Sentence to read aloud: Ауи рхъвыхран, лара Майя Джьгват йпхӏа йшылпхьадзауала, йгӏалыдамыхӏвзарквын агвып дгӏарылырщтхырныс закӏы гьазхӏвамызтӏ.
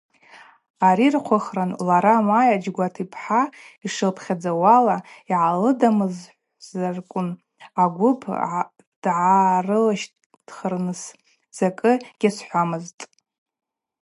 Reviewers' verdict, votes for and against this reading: accepted, 4, 0